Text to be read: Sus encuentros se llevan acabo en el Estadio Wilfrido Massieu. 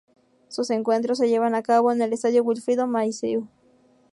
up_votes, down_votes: 2, 0